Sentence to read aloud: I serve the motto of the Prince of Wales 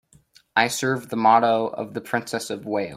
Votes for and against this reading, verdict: 0, 2, rejected